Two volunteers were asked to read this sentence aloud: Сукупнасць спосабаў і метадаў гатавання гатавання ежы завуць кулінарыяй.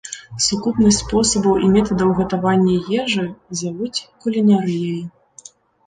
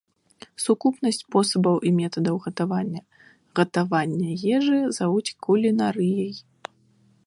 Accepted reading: second